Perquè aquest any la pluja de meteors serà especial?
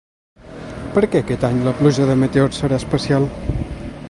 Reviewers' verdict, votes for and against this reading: rejected, 1, 2